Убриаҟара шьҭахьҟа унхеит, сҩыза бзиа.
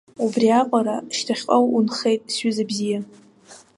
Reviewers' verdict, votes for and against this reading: accepted, 2, 1